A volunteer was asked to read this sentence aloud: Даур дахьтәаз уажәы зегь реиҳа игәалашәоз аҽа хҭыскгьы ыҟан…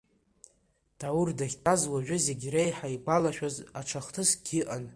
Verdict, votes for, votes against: accepted, 2, 0